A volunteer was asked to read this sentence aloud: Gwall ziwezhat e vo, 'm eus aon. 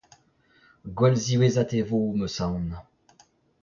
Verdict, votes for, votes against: rejected, 0, 2